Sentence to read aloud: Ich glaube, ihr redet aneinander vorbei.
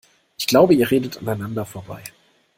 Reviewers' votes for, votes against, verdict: 2, 0, accepted